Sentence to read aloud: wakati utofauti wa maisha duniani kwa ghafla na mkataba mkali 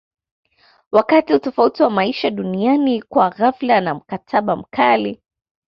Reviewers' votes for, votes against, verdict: 2, 0, accepted